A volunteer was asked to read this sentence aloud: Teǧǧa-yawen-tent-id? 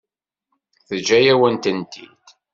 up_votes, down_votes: 2, 0